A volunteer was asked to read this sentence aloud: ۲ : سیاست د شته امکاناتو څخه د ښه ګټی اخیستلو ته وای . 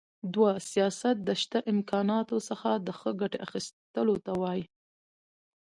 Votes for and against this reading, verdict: 0, 2, rejected